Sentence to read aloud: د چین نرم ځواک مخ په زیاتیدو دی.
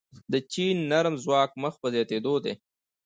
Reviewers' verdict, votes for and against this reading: rejected, 0, 2